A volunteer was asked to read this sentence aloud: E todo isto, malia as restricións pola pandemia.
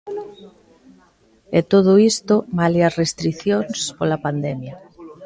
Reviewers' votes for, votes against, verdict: 0, 2, rejected